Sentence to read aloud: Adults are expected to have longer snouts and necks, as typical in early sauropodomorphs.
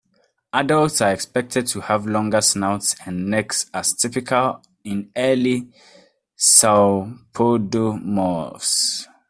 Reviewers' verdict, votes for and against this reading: rejected, 0, 2